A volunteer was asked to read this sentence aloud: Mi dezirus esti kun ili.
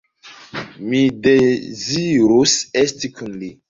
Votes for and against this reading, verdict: 0, 2, rejected